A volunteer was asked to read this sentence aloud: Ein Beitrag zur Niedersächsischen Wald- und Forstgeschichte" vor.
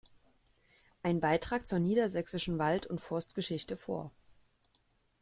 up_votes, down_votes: 2, 0